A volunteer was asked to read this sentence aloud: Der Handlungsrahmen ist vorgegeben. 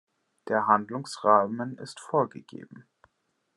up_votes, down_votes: 2, 0